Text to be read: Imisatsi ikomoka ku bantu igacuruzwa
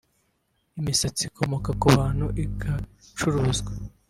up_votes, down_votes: 3, 1